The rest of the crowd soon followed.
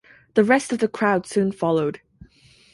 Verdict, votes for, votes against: rejected, 2, 2